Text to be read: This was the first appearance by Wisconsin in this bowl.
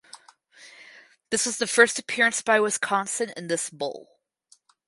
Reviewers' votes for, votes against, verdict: 4, 0, accepted